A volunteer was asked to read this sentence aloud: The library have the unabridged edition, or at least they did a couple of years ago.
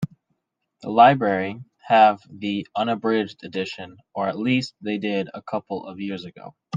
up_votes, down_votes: 2, 0